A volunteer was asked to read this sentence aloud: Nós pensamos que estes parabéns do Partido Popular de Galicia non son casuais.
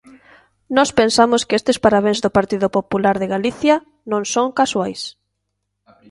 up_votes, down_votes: 2, 1